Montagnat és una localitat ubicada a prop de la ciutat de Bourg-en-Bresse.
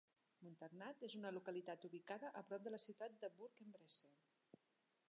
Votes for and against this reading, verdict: 0, 2, rejected